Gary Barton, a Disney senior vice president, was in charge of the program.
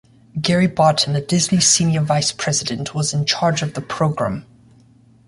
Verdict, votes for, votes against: accepted, 2, 0